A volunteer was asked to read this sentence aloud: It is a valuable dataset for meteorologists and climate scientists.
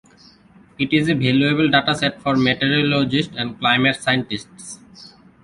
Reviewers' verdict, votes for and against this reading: rejected, 0, 2